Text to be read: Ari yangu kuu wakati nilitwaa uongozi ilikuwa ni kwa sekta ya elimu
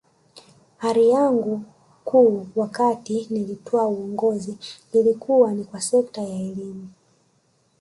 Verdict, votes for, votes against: accepted, 3, 2